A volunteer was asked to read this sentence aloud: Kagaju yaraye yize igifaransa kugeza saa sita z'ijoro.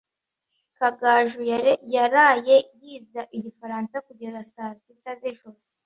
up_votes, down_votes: 1, 2